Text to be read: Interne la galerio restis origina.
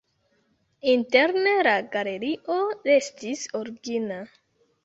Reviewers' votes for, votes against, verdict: 1, 2, rejected